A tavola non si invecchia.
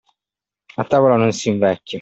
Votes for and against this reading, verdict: 2, 1, accepted